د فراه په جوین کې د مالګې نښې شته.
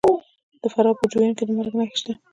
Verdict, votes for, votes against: rejected, 1, 2